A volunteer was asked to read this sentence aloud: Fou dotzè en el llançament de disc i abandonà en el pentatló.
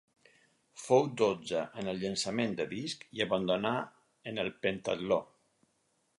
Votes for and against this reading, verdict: 0, 4, rejected